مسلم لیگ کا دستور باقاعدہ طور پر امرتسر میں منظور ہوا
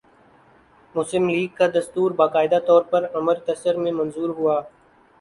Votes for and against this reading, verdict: 0, 3, rejected